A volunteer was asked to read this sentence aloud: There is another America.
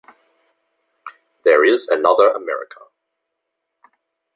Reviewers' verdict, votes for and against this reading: rejected, 0, 2